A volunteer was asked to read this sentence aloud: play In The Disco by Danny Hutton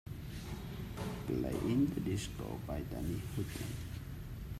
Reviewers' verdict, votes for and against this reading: accepted, 2, 1